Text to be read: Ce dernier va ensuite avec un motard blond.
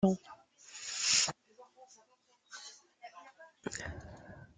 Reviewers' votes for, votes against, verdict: 0, 2, rejected